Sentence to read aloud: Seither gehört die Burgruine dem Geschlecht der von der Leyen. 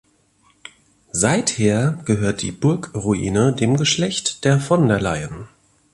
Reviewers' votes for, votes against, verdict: 2, 0, accepted